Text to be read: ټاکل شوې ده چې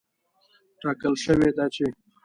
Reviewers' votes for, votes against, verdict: 2, 1, accepted